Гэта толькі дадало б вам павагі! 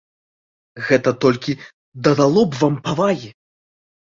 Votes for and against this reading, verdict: 2, 0, accepted